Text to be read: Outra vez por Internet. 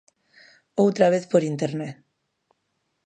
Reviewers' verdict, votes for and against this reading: accepted, 2, 0